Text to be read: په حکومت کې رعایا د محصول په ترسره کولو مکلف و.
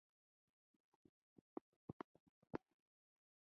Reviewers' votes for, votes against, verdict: 1, 2, rejected